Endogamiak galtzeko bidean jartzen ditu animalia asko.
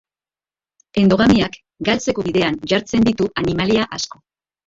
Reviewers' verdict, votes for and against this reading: accepted, 2, 1